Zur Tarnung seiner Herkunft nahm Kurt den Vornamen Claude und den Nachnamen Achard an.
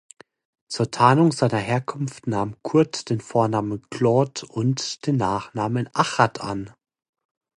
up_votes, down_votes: 2, 0